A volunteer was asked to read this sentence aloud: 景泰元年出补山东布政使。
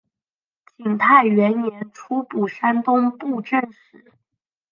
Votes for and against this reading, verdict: 0, 2, rejected